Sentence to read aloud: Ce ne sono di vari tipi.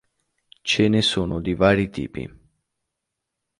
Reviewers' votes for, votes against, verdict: 3, 0, accepted